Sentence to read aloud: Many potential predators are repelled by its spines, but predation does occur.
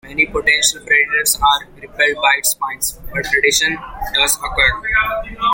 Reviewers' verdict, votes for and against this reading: accepted, 2, 0